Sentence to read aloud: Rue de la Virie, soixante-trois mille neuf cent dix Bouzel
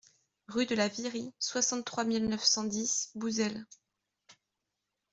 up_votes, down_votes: 2, 0